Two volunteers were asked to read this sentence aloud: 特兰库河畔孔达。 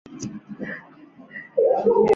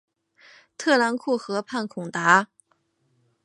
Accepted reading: second